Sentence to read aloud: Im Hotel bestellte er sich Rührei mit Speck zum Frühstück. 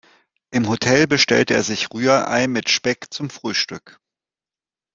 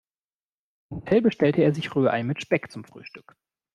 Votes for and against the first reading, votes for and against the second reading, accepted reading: 2, 0, 0, 2, first